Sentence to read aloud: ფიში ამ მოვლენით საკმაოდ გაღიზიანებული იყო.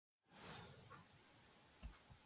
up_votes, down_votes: 0, 2